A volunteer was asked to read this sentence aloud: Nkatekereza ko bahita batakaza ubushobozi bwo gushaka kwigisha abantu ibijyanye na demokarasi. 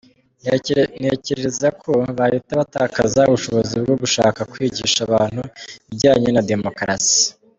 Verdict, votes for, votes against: rejected, 1, 2